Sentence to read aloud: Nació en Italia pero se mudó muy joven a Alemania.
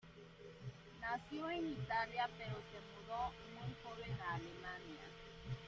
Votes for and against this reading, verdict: 0, 2, rejected